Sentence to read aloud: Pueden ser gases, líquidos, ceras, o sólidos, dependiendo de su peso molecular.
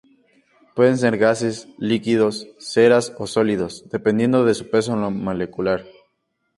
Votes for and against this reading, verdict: 2, 0, accepted